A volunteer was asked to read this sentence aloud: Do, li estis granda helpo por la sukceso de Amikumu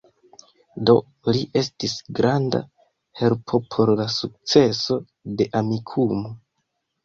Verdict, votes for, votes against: accepted, 2, 0